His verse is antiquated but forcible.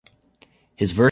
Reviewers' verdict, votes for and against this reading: rejected, 0, 2